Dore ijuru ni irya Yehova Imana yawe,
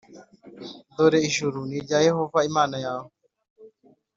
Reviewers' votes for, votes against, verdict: 2, 0, accepted